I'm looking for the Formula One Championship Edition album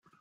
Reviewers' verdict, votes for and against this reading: rejected, 1, 10